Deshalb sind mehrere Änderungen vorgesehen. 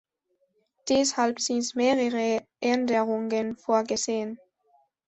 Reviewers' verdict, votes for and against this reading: accepted, 2, 1